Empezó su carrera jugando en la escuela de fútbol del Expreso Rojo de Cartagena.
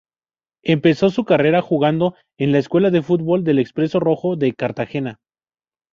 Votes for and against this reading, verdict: 2, 0, accepted